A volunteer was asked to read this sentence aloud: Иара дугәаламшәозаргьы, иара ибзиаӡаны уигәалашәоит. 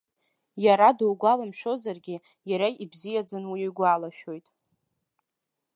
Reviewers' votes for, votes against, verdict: 0, 2, rejected